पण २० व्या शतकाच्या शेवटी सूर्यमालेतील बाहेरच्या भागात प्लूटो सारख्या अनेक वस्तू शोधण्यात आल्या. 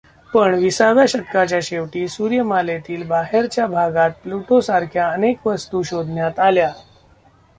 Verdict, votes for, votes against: rejected, 0, 2